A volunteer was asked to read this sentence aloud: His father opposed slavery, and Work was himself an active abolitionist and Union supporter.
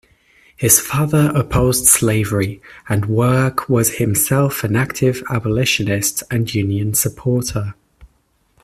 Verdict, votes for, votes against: accepted, 2, 0